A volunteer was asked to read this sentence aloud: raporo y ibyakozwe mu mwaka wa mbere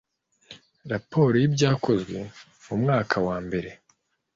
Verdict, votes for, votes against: accepted, 2, 0